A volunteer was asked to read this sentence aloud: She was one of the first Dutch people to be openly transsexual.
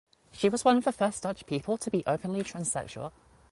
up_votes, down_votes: 2, 1